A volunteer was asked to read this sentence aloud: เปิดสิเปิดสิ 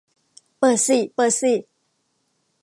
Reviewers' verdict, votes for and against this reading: accepted, 2, 0